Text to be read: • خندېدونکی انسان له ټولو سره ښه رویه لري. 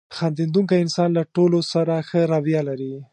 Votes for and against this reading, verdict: 2, 0, accepted